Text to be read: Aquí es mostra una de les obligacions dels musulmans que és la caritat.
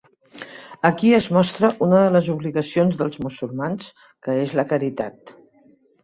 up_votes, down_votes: 2, 0